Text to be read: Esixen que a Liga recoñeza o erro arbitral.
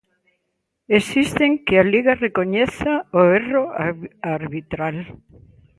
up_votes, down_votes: 0, 2